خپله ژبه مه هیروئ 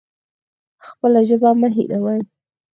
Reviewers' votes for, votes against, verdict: 4, 0, accepted